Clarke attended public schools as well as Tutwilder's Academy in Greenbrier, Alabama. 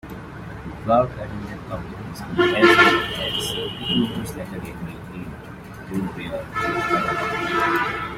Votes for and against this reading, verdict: 0, 2, rejected